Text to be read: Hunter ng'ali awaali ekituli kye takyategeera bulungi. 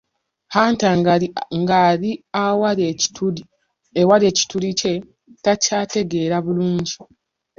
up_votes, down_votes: 0, 2